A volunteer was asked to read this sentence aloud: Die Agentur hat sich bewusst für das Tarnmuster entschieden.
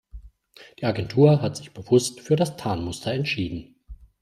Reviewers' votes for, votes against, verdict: 2, 0, accepted